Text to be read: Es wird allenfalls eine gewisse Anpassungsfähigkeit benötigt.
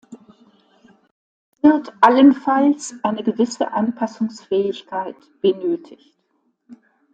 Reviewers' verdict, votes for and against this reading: rejected, 1, 2